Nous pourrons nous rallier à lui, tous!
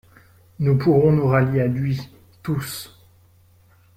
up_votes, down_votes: 2, 0